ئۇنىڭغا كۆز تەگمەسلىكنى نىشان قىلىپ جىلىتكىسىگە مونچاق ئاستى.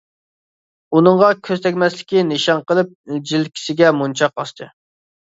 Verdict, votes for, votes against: rejected, 1, 2